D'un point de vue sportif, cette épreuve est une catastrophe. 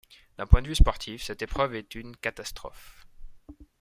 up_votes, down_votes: 2, 0